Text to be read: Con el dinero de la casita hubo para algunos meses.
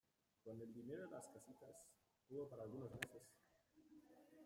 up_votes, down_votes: 0, 2